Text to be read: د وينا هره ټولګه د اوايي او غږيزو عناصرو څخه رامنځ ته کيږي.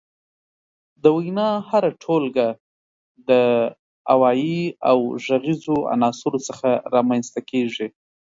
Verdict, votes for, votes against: accepted, 2, 0